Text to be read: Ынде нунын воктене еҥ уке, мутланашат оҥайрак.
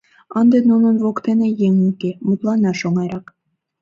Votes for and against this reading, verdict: 1, 2, rejected